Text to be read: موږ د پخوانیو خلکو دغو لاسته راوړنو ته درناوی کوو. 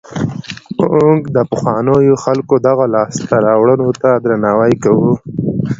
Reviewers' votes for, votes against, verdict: 2, 0, accepted